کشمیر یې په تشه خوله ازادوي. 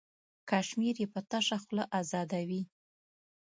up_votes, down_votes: 3, 0